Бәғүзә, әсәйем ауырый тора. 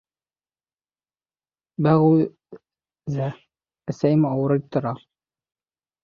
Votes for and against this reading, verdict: 0, 2, rejected